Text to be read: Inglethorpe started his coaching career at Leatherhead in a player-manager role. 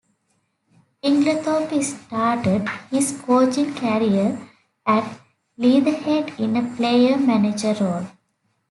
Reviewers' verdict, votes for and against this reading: rejected, 1, 2